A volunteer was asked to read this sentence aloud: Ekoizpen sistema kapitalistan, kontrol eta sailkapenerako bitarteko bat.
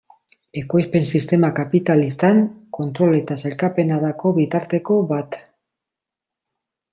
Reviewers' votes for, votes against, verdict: 0, 2, rejected